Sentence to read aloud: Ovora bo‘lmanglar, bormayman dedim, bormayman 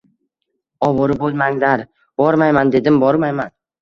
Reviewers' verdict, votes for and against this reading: accepted, 2, 0